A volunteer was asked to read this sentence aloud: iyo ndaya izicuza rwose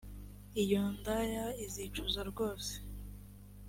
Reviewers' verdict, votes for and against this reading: accepted, 2, 0